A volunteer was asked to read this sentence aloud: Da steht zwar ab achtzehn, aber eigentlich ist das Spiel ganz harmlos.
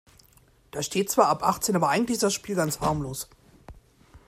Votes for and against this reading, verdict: 2, 0, accepted